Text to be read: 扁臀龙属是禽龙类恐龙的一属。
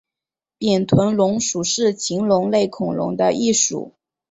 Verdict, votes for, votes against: rejected, 0, 2